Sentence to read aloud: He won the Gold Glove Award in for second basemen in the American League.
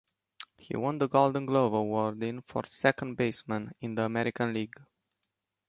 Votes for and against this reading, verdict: 2, 1, accepted